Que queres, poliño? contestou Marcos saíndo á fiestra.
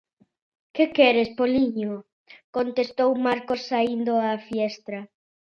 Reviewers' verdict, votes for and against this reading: accepted, 2, 0